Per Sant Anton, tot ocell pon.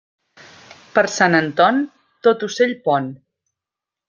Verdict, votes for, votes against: accepted, 2, 0